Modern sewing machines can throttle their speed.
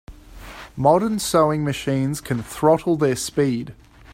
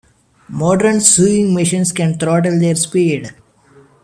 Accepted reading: first